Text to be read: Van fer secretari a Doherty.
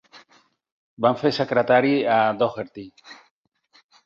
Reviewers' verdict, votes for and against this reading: accepted, 6, 2